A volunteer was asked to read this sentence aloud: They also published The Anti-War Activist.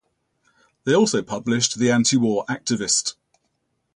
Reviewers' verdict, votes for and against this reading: rejected, 0, 2